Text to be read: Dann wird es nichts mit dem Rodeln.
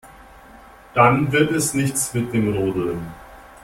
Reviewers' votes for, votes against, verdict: 2, 0, accepted